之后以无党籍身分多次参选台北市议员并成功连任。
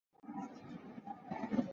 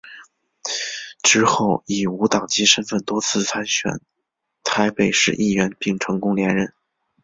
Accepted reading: second